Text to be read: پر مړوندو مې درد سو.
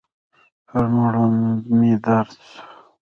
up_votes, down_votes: 1, 2